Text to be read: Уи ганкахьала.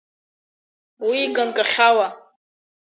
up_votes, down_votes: 4, 0